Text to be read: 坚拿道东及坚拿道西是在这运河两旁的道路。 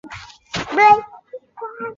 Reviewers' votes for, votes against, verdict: 0, 3, rejected